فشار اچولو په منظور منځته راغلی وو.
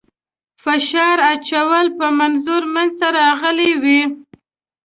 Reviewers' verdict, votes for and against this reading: rejected, 0, 2